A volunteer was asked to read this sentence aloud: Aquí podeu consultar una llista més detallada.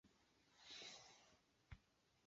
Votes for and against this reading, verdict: 0, 2, rejected